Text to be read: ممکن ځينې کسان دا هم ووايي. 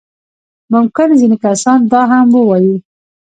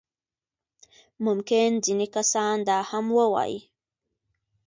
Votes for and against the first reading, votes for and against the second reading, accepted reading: 0, 2, 2, 0, second